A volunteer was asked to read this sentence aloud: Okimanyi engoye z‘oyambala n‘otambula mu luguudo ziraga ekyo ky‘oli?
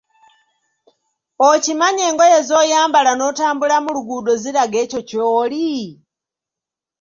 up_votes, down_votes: 2, 0